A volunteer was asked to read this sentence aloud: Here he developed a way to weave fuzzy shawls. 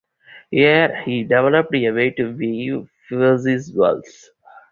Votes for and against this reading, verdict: 0, 2, rejected